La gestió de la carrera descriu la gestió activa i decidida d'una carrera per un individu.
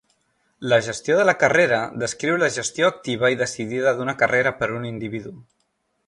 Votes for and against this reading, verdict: 3, 0, accepted